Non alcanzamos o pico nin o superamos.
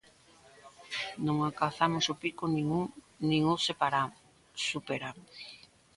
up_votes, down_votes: 0, 2